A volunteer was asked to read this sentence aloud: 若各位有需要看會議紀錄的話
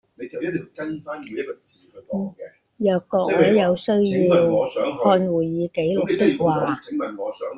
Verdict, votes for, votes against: rejected, 0, 2